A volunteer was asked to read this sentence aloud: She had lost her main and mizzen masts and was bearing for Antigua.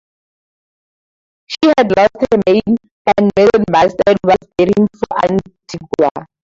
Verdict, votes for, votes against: rejected, 0, 4